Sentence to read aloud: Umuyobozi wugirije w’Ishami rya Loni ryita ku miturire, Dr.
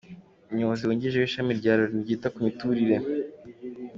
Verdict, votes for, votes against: accepted, 2, 0